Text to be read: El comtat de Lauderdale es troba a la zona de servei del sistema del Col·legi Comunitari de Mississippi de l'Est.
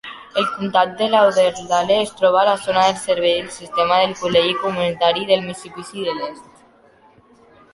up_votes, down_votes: 1, 2